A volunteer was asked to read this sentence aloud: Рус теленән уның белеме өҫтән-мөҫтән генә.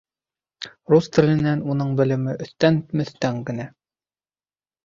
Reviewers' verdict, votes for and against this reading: accepted, 2, 0